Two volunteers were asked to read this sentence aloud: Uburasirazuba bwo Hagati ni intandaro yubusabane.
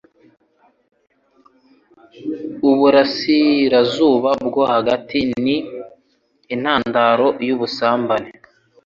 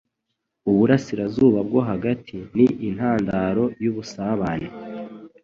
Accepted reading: second